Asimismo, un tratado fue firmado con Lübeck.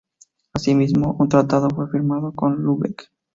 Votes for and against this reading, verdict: 2, 2, rejected